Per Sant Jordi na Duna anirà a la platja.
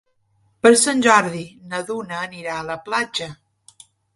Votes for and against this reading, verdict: 3, 0, accepted